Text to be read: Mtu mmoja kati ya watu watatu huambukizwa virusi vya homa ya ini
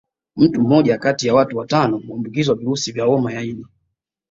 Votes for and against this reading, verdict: 2, 0, accepted